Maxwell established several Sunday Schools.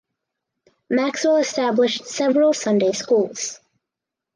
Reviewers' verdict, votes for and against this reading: accepted, 4, 0